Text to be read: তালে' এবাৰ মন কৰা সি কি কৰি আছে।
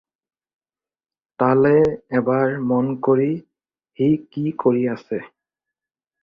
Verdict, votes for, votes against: rejected, 2, 2